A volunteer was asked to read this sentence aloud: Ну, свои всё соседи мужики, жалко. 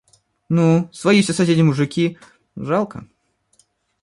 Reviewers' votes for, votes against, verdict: 2, 0, accepted